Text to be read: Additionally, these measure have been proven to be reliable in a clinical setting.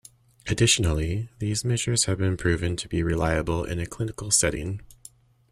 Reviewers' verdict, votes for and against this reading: rejected, 1, 2